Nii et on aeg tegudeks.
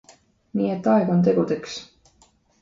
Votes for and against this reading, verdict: 2, 0, accepted